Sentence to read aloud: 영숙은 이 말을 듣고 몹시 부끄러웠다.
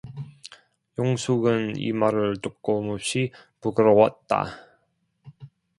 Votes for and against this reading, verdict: 0, 2, rejected